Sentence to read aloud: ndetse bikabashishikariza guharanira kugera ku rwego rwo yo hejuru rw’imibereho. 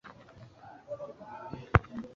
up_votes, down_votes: 1, 2